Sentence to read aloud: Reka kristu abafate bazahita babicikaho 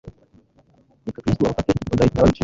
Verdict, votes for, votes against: rejected, 1, 2